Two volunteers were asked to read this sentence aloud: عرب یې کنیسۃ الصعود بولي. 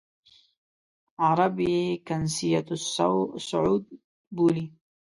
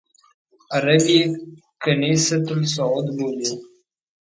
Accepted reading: second